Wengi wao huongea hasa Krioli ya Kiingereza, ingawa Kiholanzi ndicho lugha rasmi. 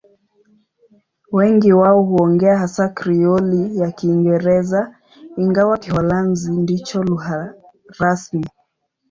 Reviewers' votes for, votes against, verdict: 3, 0, accepted